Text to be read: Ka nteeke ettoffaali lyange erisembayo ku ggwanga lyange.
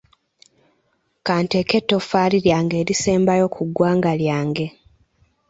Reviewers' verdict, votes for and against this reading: accepted, 2, 0